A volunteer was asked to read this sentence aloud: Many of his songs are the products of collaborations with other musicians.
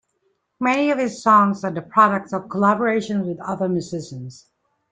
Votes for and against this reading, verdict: 3, 0, accepted